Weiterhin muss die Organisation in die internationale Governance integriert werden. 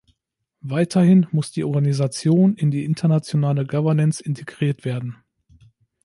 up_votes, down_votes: 2, 0